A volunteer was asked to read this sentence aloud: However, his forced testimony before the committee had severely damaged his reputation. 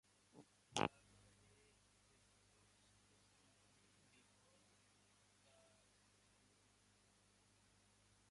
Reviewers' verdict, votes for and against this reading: rejected, 0, 2